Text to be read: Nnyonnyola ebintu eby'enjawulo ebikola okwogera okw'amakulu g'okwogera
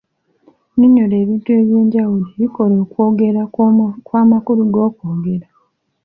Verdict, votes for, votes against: accepted, 2, 0